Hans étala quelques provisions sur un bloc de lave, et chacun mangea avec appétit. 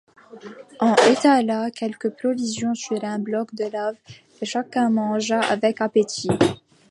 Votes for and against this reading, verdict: 0, 2, rejected